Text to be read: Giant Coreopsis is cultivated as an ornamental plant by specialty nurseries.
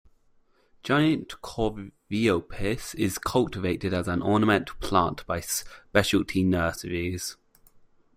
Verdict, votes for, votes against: rejected, 1, 2